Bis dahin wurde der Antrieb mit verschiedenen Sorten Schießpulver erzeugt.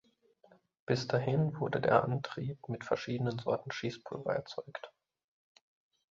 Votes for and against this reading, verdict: 2, 0, accepted